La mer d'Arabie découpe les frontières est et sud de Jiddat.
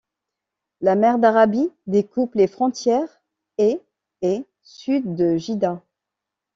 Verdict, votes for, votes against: rejected, 0, 2